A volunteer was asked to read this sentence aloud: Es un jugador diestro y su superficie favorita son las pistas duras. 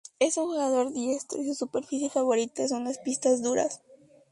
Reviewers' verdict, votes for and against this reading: accepted, 2, 0